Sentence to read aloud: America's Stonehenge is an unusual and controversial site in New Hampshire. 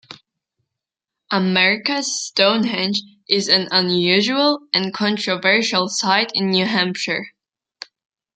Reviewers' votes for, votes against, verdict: 2, 0, accepted